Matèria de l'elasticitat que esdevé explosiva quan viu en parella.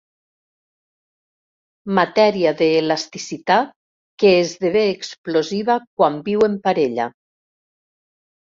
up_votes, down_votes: 0, 2